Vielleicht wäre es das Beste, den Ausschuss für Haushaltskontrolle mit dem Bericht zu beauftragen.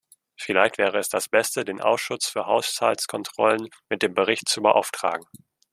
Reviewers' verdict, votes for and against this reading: rejected, 0, 2